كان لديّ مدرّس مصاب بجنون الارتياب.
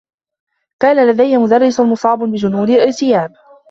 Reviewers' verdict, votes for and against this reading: accepted, 2, 1